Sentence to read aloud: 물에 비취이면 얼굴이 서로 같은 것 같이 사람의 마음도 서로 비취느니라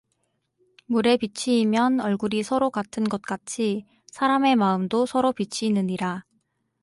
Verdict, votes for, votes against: accepted, 4, 0